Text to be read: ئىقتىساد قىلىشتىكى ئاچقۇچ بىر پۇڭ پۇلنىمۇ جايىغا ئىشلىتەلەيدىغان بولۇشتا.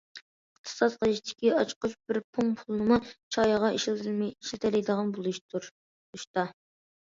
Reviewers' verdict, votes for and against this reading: rejected, 0, 2